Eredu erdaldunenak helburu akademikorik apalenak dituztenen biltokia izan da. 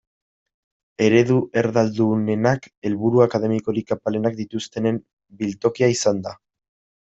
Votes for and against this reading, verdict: 2, 1, accepted